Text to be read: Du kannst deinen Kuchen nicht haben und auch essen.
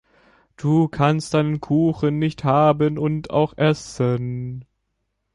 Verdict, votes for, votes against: rejected, 1, 2